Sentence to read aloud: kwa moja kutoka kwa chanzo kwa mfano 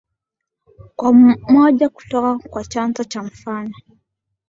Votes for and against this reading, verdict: 1, 2, rejected